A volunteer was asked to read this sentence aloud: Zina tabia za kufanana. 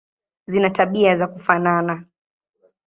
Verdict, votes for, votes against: accepted, 4, 0